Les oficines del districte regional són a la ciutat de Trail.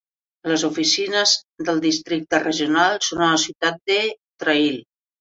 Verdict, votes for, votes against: accepted, 2, 0